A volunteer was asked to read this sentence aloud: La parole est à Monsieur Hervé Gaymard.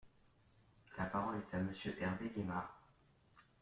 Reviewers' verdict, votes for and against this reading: accepted, 2, 0